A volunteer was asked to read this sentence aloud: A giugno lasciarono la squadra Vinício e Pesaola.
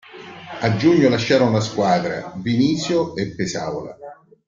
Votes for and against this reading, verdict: 0, 2, rejected